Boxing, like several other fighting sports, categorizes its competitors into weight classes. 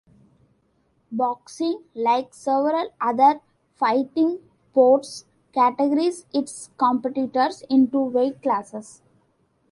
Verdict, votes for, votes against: rejected, 0, 2